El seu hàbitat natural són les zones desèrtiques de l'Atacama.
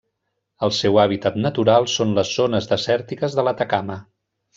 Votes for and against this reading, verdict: 1, 2, rejected